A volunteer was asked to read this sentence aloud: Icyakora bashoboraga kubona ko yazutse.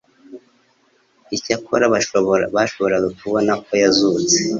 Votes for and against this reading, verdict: 1, 2, rejected